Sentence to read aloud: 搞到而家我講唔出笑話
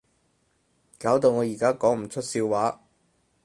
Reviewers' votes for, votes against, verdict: 2, 2, rejected